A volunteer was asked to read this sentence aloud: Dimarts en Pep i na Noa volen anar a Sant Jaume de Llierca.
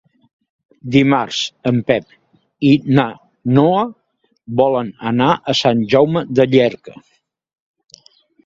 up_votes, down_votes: 2, 1